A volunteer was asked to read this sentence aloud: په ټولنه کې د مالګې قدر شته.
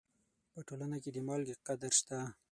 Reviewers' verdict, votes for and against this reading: rejected, 3, 6